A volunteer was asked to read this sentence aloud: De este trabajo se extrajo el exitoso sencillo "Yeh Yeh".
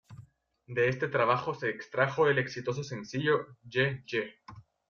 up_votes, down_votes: 2, 1